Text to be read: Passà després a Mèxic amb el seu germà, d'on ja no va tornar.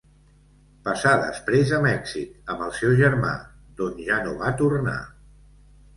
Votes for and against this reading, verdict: 2, 0, accepted